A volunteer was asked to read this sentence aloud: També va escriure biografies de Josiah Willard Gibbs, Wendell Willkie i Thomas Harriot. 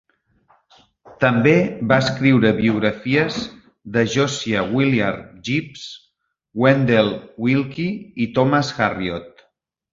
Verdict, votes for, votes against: accepted, 2, 0